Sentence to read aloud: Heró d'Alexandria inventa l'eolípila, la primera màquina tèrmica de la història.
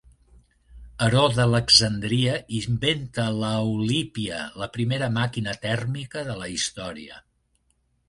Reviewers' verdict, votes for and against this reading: rejected, 0, 2